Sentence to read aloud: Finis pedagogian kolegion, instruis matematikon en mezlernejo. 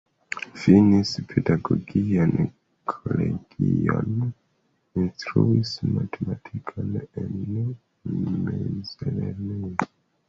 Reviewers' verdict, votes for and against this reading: accepted, 2, 0